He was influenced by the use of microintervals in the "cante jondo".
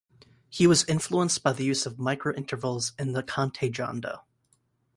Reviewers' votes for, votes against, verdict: 2, 0, accepted